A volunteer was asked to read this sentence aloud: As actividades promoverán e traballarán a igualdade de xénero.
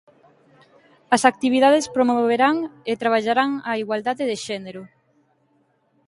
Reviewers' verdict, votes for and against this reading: accepted, 2, 0